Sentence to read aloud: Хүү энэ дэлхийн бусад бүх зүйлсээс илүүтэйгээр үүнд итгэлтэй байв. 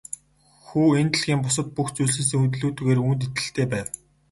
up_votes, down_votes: 0, 2